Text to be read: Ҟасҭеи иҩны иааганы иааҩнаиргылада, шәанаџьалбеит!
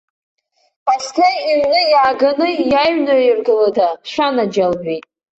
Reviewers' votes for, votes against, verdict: 1, 2, rejected